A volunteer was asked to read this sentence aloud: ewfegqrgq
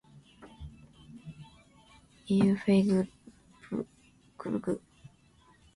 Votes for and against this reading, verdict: 0, 3, rejected